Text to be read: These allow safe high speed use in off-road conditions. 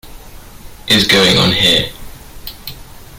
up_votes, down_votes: 0, 2